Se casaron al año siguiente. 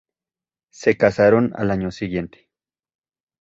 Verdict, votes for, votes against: accepted, 2, 0